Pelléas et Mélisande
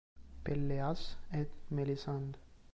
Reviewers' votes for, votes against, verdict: 0, 2, rejected